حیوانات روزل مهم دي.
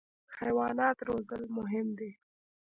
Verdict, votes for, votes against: rejected, 1, 2